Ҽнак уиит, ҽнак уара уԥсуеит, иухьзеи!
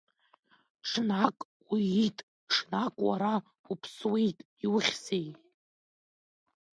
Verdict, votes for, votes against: accepted, 2, 1